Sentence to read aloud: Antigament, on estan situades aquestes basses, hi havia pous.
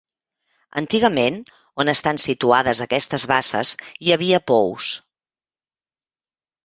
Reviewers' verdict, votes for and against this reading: accepted, 2, 0